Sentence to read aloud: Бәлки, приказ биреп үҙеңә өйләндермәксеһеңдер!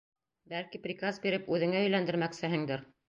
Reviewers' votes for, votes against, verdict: 2, 0, accepted